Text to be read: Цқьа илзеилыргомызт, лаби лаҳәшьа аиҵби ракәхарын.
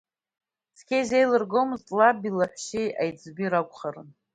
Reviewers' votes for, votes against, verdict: 2, 1, accepted